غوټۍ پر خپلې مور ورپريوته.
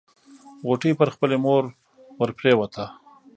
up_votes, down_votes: 2, 0